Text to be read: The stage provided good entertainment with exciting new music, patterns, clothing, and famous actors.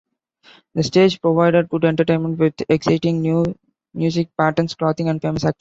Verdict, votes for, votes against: rejected, 0, 2